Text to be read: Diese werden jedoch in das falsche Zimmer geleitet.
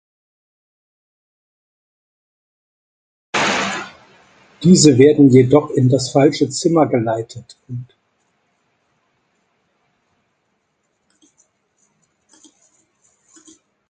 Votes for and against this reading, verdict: 2, 0, accepted